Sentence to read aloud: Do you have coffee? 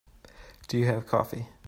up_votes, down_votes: 2, 0